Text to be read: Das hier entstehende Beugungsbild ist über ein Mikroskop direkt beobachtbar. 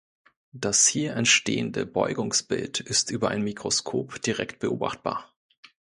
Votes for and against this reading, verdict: 2, 0, accepted